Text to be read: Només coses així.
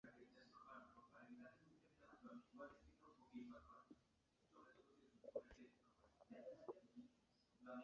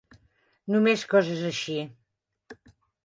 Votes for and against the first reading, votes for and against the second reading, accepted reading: 1, 3, 3, 0, second